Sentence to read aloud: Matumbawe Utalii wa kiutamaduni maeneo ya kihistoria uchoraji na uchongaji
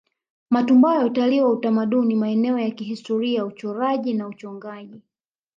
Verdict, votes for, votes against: accepted, 2, 0